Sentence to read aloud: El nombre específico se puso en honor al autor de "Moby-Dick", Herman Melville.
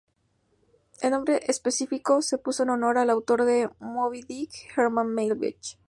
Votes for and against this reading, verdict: 0, 2, rejected